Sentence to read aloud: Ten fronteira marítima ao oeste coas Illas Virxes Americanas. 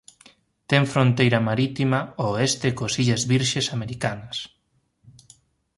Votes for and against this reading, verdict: 2, 0, accepted